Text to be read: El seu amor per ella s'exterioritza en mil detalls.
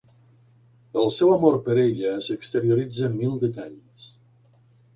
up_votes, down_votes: 2, 0